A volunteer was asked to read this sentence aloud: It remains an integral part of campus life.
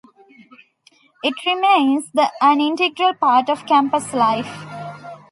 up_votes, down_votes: 1, 2